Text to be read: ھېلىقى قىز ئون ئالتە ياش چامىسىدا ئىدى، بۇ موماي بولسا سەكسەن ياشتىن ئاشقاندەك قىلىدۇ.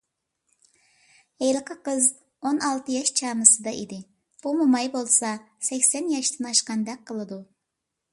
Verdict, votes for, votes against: accepted, 2, 0